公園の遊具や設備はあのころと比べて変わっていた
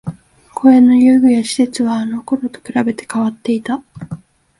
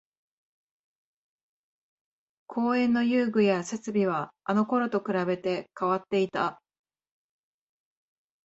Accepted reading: first